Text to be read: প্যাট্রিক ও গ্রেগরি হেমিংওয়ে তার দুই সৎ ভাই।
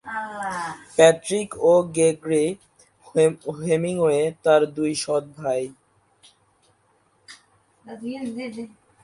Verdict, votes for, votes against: rejected, 1, 10